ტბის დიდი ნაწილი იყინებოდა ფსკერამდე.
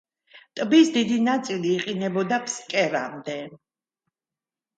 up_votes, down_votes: 2, 0